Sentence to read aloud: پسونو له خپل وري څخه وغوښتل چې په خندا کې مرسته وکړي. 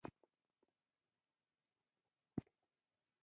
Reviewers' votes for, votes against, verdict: 0, 2, rejected